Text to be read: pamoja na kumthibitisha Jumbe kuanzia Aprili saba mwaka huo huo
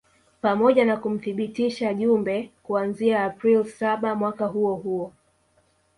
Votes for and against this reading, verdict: 0, 2, rejected